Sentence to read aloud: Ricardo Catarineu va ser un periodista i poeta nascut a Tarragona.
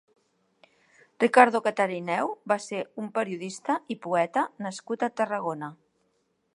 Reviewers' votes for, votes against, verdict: 2, 0, accepted